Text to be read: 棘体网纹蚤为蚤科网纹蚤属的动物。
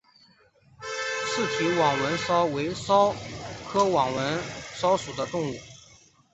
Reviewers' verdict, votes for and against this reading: accepted, 2, 1